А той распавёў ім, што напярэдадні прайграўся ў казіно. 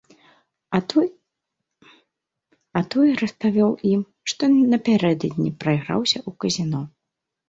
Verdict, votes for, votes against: rejected, 0, 2